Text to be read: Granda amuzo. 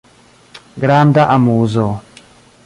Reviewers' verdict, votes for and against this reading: accepted, 2, 1